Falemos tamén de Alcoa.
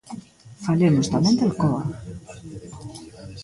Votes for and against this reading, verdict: 0, 2, rejected